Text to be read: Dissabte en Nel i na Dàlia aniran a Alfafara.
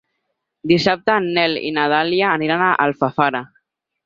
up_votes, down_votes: 6, 0